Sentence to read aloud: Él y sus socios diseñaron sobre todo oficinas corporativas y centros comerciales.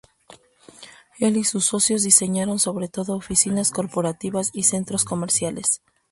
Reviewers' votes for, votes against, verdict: 2, 0, accepted